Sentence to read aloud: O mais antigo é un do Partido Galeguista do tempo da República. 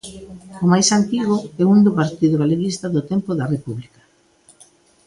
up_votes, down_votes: 2, 0